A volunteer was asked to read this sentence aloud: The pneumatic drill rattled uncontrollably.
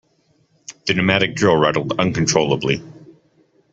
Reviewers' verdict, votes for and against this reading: accepted, 2, 0